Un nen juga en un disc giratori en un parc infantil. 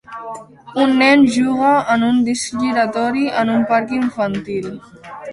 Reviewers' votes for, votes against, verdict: 1, 2, rejected